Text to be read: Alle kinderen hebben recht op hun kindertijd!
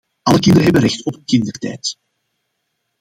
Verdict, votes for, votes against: accepted, 2, 0